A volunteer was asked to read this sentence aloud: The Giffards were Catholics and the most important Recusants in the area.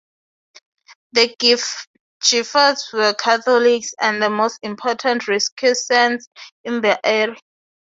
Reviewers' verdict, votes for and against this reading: rejected, 0, 4